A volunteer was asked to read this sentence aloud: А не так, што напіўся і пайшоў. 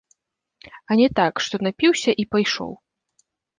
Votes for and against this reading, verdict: 2, 0, accepted